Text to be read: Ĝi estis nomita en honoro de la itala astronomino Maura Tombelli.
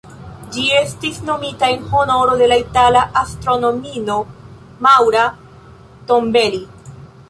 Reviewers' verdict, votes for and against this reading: accepted, 2, 0